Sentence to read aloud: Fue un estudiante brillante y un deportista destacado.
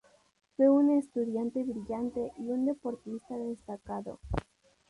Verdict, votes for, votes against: rejected, 0, 2